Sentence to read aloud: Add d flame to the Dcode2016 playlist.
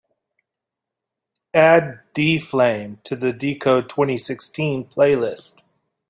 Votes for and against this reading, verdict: 0, 2, rejected